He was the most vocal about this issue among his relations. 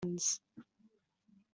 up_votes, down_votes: 0, 2